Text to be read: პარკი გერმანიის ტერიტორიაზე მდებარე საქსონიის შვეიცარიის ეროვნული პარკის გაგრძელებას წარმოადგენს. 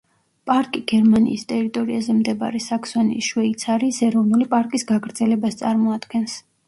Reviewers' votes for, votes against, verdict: 1, 2, rejected